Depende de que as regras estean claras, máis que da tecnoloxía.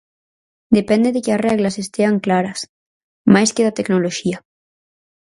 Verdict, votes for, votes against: rejected, 0, 4